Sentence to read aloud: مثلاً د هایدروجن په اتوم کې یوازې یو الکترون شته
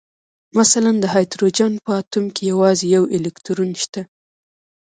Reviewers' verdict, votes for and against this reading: accepted, 2, 1